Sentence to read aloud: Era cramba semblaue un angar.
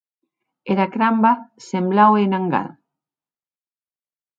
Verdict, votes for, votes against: accepted, 2, 0